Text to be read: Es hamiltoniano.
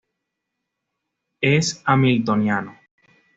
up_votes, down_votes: 2, 1